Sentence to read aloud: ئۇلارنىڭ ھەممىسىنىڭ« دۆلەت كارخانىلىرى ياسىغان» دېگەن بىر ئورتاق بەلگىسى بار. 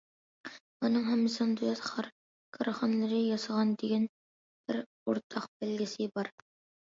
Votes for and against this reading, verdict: 0, 2, rejected